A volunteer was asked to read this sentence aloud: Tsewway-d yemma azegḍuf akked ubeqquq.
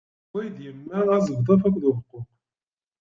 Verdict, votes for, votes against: rejected, 1, 2